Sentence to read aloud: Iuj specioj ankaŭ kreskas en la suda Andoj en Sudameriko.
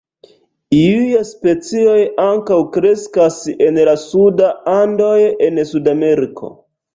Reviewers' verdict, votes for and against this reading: rejected, 0, 2